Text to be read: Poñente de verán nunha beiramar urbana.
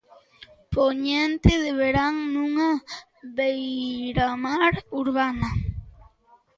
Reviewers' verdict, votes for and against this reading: rejected, 1, 2